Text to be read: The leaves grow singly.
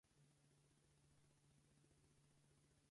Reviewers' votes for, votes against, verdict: 0, 2, rejected